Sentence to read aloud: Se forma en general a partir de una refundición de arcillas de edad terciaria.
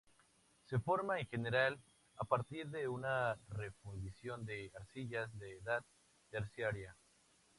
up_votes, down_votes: 4, 0